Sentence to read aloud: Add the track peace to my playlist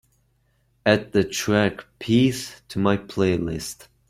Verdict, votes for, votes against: accepted, 2, 1